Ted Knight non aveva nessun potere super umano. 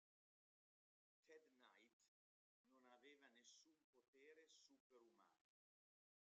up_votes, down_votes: 0, 2